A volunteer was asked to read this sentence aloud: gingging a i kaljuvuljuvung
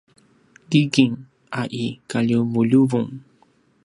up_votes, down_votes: 0, 2